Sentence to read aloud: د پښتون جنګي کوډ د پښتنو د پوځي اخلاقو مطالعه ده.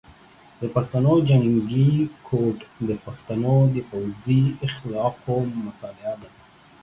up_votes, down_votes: 0, 2